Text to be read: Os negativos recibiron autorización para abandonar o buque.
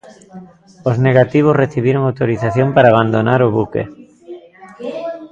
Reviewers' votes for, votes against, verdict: 1, 2, rejected